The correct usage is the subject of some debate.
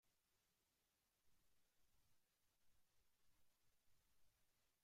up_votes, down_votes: 1, 2